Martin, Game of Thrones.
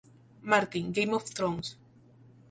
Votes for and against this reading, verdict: 2, 0, accepted